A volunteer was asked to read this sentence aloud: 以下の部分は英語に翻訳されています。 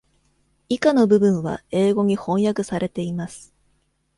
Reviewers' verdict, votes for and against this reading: accepted, 2, 0